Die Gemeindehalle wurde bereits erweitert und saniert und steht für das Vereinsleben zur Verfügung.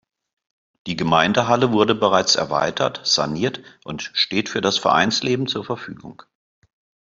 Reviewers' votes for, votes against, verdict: 1, 3, rejected